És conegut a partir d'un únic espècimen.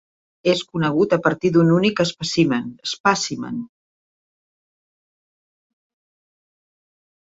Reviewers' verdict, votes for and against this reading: rejected, 0, 2